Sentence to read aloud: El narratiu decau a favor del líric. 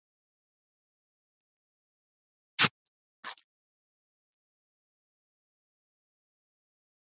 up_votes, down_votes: 0, 2